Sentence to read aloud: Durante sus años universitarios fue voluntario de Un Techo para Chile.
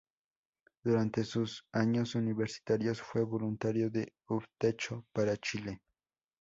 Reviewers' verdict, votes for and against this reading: accepted, 2, 0